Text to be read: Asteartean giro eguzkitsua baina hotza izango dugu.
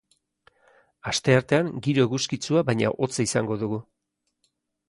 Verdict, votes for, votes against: accepted, 2, 0